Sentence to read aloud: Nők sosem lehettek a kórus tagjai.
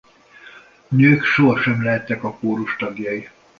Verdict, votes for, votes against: rejected, 1, 2